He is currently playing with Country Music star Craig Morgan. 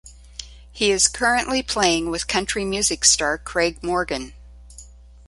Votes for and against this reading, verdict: 0, 2, rejected